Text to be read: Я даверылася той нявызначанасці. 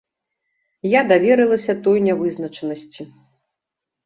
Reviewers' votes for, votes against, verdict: 2, 0, accepted